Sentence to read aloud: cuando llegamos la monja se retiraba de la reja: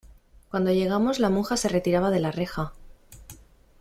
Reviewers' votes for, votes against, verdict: 2, 0, accepted